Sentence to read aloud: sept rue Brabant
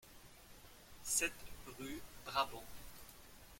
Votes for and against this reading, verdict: 2, 1, accepted